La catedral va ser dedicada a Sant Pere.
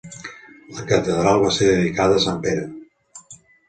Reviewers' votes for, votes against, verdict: 2, 0, accepted